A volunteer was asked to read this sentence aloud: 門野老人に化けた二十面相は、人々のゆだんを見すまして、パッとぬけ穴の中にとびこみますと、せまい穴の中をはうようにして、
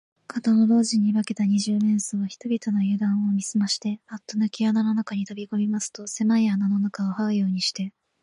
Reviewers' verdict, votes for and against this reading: rejected, 3, 3